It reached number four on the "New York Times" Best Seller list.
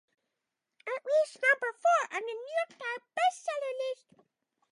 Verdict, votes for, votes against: accepted, 2, 0